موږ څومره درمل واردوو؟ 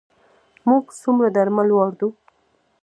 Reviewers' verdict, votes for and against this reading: rejected, 1, 2